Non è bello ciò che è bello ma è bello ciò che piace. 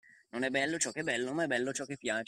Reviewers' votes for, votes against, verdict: 2, 1, accepted